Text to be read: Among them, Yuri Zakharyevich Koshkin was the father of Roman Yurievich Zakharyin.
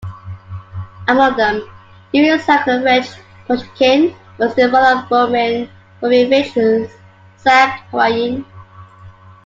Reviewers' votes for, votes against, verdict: 0, 2, rejected